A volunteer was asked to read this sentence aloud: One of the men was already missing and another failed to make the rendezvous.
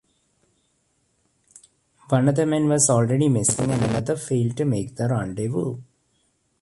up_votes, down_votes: 1, 2